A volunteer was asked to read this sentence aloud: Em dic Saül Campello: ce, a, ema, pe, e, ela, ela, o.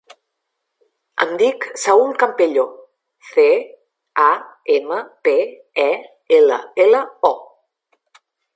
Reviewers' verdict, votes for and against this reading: rejected, 0, 2